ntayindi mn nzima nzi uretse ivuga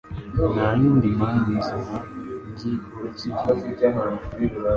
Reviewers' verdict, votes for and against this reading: accepted, 2, 0